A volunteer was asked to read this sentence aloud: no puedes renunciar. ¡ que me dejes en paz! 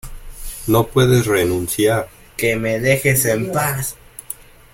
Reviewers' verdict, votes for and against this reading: accepted, 2, 0